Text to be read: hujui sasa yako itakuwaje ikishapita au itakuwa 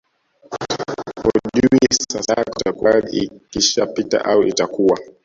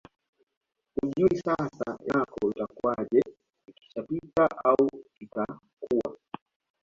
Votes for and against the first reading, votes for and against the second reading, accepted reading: 0, 2, 2, 0, second